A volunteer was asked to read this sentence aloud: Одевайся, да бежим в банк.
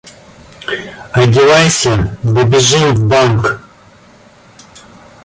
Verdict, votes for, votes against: accepted, 2, 0